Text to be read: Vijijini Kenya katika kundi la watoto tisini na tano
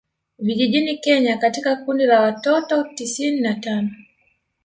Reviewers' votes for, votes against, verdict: 1, 2, rejected